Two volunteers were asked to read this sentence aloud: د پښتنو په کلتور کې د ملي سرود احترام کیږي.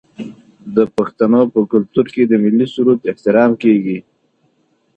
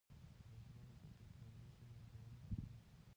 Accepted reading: first